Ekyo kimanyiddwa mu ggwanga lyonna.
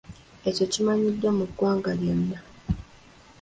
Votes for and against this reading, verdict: 2, 1, accepted